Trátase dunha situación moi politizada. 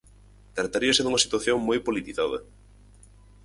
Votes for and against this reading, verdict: 0, 4, rejected